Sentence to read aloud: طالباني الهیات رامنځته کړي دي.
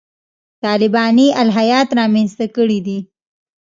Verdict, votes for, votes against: accepted, 2, 0